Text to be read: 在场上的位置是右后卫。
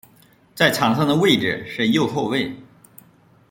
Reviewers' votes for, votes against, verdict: 2, 0, accepted